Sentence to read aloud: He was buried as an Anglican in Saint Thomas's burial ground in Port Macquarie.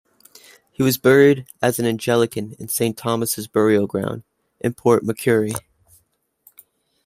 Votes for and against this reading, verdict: 0, 2, rejected